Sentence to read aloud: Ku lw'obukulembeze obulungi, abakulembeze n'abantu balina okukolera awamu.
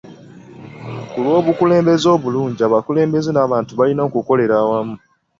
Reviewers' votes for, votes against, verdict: 2, 1, accepted